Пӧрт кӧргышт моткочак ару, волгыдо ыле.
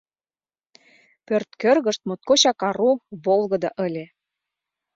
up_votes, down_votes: 2, 0